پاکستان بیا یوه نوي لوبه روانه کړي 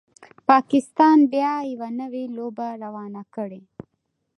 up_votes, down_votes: 0, 2